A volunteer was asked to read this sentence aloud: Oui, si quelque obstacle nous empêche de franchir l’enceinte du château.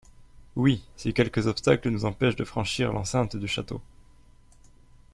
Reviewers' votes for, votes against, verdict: 2, 3, rejected